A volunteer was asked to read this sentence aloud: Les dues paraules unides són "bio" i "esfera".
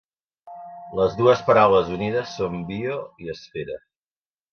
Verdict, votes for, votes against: accepted, 2, 0